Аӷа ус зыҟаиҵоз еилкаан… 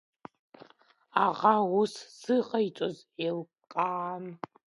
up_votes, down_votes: 0, 2